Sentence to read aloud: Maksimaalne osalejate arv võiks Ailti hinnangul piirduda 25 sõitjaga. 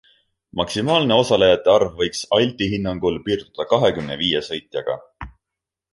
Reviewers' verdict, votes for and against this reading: rejected, 0, 2